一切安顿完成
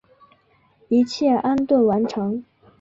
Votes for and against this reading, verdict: 3, 0, accepted